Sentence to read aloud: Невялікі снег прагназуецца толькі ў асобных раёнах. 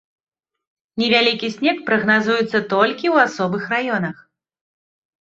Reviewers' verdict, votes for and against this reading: rejected, 0, 2